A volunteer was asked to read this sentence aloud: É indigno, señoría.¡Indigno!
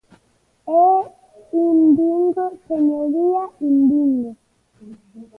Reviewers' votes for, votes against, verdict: 0, 2, rejected